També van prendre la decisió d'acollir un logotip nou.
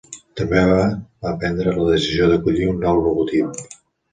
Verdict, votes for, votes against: rejected, 0, 2